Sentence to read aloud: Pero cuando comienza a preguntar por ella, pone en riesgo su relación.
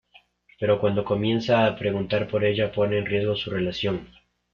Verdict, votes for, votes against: accepted, 2, 1